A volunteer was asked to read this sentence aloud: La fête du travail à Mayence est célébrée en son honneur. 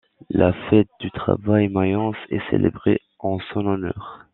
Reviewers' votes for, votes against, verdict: 1, 2, rejected